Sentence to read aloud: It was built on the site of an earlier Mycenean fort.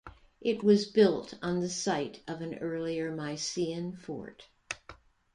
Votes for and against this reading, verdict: 1, 2, rejected